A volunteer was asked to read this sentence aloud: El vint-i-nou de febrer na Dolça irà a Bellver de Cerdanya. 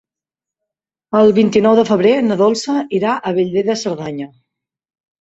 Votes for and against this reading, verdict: 4, 0, accepted